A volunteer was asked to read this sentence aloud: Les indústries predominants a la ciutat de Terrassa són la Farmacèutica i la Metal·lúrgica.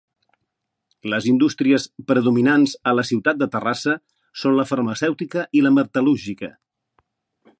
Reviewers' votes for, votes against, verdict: 2, 0, accepted